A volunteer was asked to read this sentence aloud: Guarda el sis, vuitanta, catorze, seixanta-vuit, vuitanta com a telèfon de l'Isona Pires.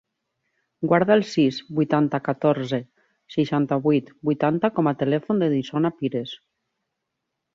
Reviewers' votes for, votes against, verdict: 2, 0, accepted